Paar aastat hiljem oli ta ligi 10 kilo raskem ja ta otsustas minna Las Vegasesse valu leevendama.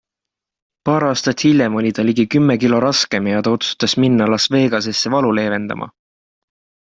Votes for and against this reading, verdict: 0, 2, rejected